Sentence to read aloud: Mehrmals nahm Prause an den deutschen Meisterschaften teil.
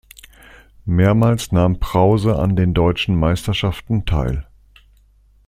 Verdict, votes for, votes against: accepted, 2, 0